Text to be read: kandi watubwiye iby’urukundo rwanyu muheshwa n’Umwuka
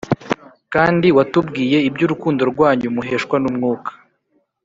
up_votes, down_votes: 2, 0